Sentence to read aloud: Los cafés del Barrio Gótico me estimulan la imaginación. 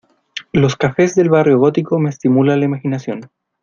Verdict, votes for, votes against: accepted, 2, 0